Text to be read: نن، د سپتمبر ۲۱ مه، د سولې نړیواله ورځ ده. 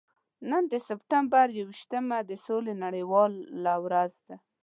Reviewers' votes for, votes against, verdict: 0, 2, rejected